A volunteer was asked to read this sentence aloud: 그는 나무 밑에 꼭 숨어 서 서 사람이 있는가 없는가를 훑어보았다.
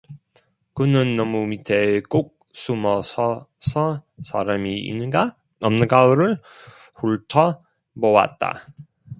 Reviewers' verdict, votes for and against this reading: rejected, 0, 2